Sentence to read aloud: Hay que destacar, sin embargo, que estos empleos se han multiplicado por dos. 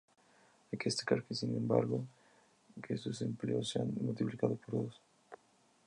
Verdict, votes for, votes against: rejected, 0, 2